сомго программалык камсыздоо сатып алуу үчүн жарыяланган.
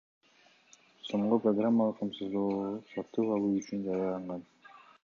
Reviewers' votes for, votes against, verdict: 2, 1, accepted